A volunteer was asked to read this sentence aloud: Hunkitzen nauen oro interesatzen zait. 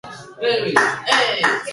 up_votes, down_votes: 0, 2